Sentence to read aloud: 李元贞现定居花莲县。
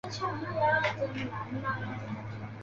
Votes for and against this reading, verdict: 0, 2, rejected